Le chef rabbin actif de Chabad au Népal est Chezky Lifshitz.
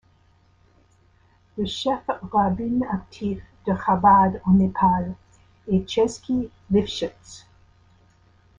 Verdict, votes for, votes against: rejected, 0, 2